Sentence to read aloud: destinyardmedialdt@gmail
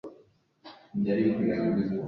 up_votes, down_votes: 0, 2